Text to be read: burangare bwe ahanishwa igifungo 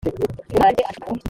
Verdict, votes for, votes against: rejected, 0, 3